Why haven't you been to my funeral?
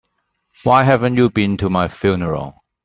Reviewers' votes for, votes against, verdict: 2, 0, accepted